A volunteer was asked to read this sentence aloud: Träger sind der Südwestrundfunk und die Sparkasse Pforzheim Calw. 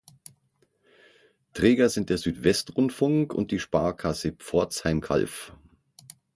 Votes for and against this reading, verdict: 6, 0, accepted